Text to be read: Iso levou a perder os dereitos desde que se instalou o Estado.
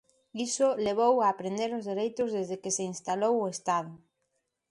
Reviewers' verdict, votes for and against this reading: rejected, 0, 2